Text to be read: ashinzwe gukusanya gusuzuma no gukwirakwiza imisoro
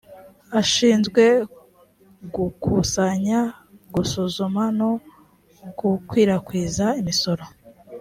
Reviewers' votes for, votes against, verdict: 2, 0, accepted